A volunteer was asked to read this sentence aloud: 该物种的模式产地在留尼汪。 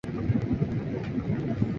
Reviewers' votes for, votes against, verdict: 0, 3, rejected